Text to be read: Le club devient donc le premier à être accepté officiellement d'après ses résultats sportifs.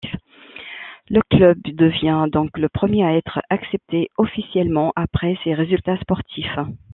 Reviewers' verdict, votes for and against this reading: rejected, 0, 2